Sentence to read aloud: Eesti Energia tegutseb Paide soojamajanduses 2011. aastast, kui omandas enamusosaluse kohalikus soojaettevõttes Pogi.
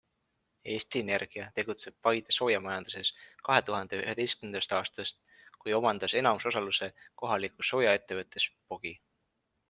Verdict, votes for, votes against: rejected, 0, 2